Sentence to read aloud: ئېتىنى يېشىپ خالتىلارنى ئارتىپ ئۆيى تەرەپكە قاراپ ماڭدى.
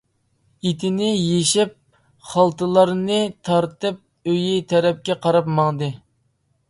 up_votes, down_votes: 0, 2